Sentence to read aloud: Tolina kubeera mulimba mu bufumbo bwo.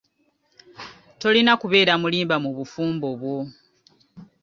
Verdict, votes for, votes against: accepted, 2, 0